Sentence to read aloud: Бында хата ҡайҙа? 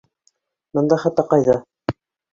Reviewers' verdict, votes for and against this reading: accepted, 2, 1